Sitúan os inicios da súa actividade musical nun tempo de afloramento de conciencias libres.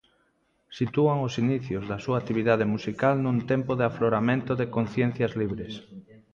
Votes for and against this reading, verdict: 2, 0, accepted